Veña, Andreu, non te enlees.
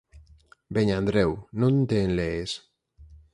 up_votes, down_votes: 2, 4